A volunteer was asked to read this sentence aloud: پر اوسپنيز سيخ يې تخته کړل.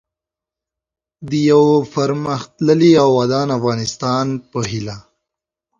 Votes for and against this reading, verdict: 1, 2, rejected